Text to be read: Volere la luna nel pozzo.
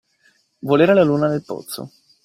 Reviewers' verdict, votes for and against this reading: accepted, 2, 0